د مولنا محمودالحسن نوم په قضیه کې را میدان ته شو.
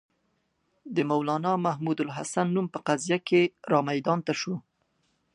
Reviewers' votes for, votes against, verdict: 2, 0, accepted